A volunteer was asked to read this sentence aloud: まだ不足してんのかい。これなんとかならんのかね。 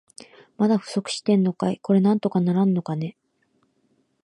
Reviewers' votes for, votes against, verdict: 2, 0, accepted